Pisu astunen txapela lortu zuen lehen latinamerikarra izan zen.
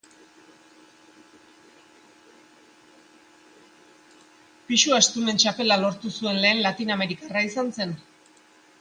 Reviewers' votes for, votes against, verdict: 0, 2, rejected